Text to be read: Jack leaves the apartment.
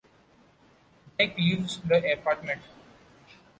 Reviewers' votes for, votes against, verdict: 1, 2, rejected